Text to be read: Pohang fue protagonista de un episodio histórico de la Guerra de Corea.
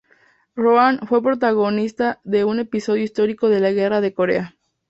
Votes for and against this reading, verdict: 0, 2, rejected